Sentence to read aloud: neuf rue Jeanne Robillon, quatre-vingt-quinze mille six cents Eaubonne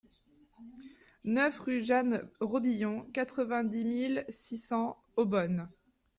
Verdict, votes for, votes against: rejected, 0, 2